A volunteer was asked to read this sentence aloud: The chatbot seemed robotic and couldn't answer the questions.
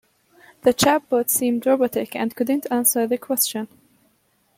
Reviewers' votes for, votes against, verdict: 1, 2, rejected